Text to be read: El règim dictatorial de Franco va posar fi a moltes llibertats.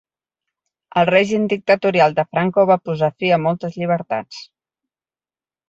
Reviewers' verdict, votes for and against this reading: accepted, 4, 0